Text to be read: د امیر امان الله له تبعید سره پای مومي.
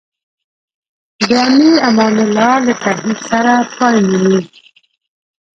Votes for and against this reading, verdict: 0, 2, rejected